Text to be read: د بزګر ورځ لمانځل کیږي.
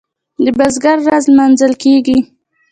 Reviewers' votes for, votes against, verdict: 2, 0, accepted